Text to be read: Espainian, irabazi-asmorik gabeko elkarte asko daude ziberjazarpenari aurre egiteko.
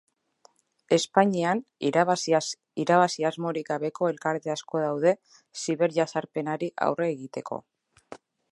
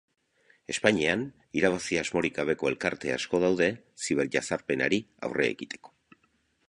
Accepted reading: second